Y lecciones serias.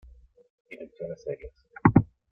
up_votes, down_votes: 1, 2